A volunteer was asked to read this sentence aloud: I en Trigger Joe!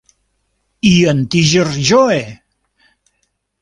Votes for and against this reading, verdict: 0, 2, rejected